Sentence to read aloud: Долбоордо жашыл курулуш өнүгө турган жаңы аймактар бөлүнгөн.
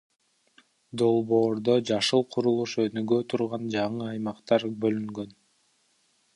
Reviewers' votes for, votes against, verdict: 1, 2, rejected